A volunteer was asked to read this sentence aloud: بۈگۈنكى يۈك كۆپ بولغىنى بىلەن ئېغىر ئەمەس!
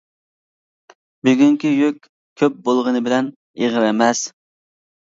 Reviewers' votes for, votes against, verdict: 2, 0, accepted